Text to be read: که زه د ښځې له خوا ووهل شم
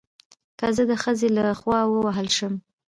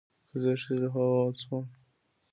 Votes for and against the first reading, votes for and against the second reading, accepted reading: 2, 1, 1, 2, first